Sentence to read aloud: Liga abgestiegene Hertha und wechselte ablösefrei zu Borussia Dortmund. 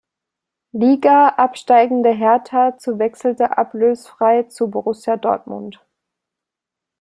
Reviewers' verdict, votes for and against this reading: rejected, 0, 2